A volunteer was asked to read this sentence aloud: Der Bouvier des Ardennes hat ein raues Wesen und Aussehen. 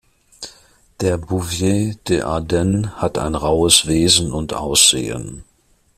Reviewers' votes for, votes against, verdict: 0, 2, rejected